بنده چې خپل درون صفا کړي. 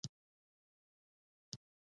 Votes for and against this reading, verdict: 1, 2, rejected